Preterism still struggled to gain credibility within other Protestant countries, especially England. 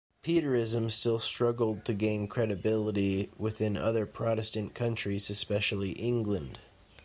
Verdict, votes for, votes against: accepted, 2, 0